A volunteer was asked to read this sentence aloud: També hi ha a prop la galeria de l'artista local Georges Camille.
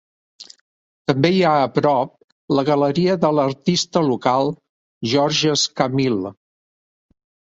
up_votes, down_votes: 2, 0